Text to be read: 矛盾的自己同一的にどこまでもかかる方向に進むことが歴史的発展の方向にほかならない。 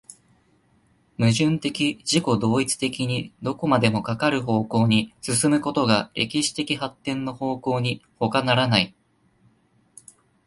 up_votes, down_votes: 2, 0